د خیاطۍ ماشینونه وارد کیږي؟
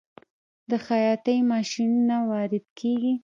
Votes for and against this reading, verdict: 2, 1, accepted